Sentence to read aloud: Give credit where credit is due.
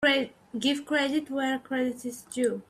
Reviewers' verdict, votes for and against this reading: rejected, 1, 2